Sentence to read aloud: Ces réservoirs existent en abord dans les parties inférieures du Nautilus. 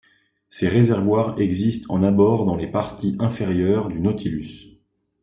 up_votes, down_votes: 2, 0